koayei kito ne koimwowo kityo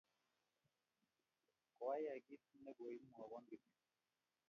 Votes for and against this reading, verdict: 1, 2, rejected